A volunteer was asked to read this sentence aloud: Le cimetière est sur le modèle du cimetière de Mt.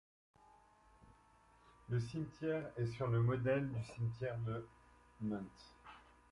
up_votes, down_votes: 1, 3